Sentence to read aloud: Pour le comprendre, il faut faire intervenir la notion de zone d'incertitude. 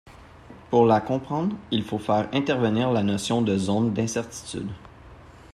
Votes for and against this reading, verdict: 0, 2, rejected